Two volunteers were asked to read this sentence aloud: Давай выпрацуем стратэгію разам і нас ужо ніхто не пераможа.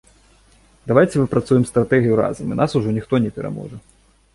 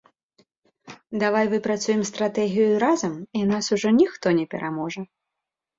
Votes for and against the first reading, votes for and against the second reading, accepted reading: 0, 2, 2, 0, second